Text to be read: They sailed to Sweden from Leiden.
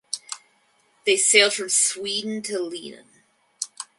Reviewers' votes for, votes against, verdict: 2, 4, rejected